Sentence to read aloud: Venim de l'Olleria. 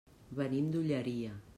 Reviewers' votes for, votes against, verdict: 1, 2, rejected